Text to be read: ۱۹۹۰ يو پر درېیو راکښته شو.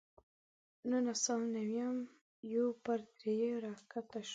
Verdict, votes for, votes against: rejected, 0, 2